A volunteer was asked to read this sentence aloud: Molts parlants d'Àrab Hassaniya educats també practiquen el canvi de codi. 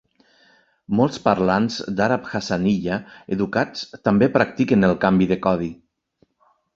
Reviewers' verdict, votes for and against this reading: accepted, 3, 0